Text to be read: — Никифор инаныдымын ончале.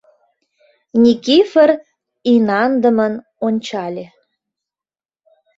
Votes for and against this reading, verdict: 0, 2, rejected